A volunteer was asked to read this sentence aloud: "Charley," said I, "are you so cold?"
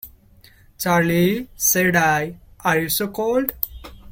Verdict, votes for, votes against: rejected, 0, 2